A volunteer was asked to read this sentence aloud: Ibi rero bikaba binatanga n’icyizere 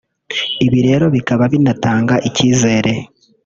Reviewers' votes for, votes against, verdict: 0, 2, rejected